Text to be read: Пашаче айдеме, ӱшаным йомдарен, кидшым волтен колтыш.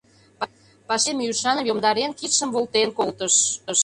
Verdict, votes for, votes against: rejected, 0, 2